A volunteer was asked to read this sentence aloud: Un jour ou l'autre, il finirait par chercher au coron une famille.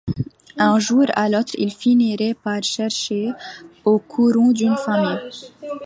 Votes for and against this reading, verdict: 0, 2, rejected